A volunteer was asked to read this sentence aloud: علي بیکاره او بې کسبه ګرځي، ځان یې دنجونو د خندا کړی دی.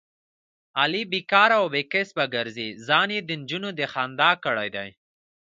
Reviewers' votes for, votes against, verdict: 2, 1, accepted